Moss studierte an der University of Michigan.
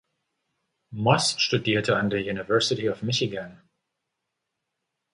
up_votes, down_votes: 2, 0